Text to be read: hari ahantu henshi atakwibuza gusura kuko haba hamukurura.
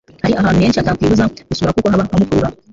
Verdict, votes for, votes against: rejected, 1, 3